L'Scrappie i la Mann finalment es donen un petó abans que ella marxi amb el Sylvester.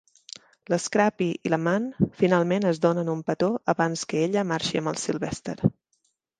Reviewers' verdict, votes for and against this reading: accepted, 2, 0